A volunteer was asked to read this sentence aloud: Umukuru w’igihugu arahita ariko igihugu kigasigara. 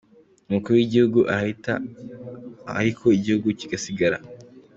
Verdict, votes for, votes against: accepted, 2, 1